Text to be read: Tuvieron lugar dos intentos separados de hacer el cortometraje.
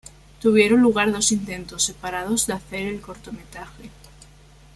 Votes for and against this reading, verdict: 2, 1, accepted